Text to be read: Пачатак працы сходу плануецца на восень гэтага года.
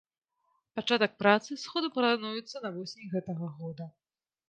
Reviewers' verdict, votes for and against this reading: rejected, 2, 3